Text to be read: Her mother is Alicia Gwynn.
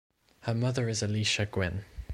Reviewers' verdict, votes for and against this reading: accepted, 2, 1